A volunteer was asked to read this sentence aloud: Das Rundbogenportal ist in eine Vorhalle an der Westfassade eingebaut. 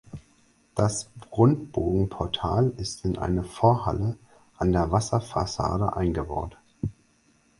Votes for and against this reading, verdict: 0, 4, rejected